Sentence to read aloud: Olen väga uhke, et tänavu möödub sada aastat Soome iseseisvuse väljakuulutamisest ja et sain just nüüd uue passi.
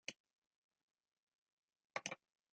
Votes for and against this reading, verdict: 0, 2, rejected